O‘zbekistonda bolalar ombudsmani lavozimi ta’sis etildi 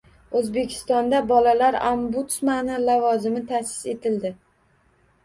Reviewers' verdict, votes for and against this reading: accepted, 2, 0